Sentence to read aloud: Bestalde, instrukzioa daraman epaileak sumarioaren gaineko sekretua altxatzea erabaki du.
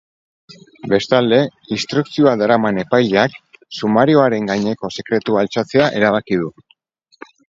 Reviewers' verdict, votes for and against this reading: rejected, 2, 2